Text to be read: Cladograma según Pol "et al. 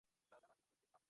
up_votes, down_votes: 0, 4